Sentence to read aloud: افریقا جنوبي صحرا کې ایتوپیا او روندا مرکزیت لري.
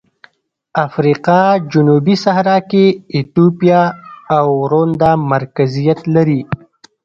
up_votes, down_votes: 1, 2